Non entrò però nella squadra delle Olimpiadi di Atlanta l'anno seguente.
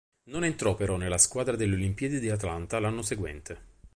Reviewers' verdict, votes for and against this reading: accepted, 2, 0